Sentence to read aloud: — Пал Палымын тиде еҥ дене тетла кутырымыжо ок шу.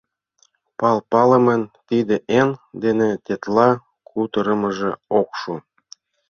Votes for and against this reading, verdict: 0, 2, rejected